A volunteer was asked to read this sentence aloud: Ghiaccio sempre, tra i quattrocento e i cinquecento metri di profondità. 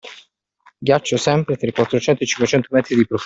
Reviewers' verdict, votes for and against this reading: rejected, 1, 2